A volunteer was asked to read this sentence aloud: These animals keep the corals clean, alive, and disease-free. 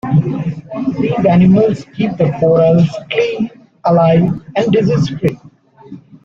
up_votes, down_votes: 2, 1